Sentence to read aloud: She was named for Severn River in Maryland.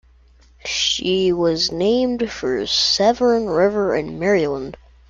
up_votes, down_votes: 2, 0